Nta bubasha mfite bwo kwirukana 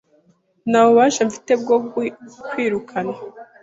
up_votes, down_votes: 1, 2